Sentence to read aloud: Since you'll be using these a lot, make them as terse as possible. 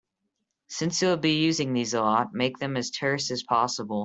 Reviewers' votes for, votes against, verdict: 2, 0, accepted